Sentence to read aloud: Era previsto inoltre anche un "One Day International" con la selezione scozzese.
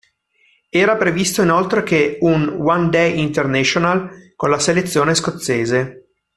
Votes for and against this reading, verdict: 0, 2, rejected